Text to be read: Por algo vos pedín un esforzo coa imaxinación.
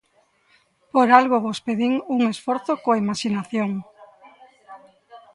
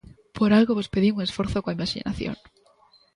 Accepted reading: second